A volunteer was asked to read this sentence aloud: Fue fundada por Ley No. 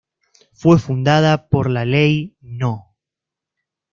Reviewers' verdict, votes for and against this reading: rejected, 1, 2